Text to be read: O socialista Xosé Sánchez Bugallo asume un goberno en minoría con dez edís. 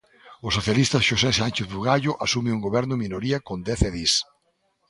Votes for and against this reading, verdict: 2, 0, accepted